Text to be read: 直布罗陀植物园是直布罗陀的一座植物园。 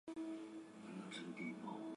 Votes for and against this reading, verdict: 0, 3, rejected